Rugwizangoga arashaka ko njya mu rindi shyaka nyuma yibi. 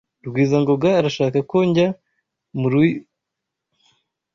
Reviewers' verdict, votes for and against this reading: rejected, 1, 2